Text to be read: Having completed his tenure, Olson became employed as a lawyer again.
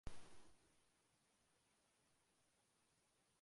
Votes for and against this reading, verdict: 0, 2, rejected